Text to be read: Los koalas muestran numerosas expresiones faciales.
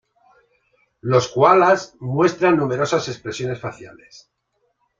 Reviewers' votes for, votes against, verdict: 2, 0, accepted